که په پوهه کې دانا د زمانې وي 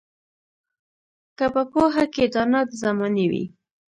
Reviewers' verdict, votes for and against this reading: accepted, 2, 0